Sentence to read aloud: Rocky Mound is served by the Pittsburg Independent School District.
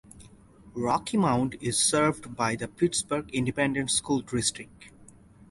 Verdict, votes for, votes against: accepted, 4, 0